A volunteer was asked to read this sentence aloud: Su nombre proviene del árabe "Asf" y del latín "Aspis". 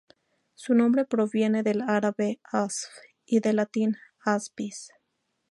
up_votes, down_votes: 2, 0